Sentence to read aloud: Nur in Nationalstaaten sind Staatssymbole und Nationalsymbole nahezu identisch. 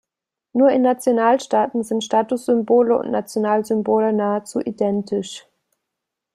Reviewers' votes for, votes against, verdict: 0, 2, rejected